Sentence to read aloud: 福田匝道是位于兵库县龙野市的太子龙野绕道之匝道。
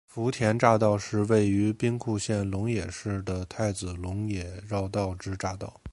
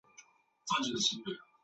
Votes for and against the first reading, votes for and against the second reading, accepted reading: 2, 0, 0, 3, first